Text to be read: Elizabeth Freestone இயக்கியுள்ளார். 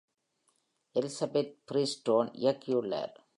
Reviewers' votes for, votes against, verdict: 2, 0, accepted